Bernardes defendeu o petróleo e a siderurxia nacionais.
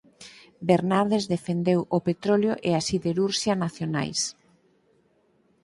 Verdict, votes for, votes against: accepted, 4, 0